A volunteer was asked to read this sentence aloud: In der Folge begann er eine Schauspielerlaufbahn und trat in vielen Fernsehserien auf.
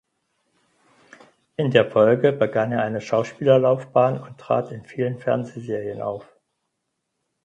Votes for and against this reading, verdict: 4, 0, accepted